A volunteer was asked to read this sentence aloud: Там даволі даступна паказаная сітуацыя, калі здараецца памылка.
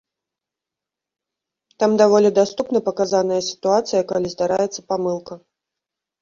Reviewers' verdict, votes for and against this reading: accepted, 2, 0